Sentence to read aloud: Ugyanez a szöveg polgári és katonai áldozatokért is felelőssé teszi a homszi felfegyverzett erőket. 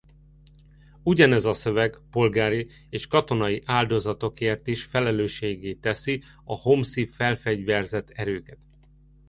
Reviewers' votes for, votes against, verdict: 0, 2, rejected